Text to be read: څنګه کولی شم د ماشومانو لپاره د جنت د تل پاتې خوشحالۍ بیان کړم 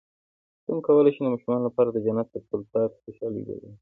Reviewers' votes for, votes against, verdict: 1, 2, rejected